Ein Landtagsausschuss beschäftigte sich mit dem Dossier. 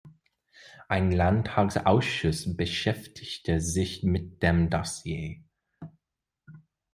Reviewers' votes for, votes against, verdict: 2, 0, accepted